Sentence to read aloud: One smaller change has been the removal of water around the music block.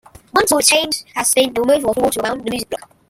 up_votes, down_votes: 0, 2